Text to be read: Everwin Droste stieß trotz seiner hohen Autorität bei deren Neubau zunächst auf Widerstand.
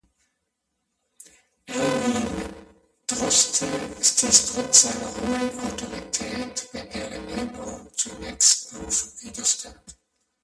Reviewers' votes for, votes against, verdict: 0, 2, rejected